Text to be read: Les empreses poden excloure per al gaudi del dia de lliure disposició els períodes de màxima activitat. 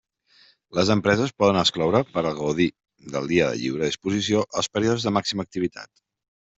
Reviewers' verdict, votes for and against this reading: rejected, 0, 2